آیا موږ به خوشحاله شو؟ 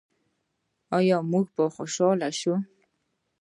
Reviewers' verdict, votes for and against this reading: accepted, 2, 0